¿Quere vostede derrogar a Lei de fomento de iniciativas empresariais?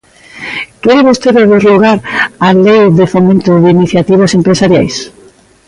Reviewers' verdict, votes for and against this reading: accepted, 2, 0